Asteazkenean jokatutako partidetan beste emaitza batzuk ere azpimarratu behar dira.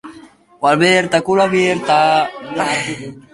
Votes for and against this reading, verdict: 0, 3, rejected